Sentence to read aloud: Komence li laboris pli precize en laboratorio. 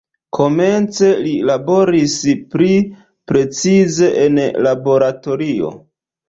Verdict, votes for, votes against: rejected, 0, 2